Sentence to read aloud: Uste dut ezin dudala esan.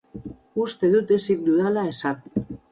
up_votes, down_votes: 4, 0